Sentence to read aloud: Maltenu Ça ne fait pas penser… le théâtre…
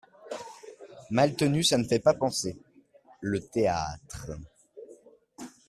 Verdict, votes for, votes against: accepted, 2, 0